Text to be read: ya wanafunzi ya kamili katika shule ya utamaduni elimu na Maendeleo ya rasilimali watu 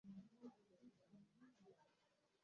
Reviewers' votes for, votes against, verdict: 1, 9, rejected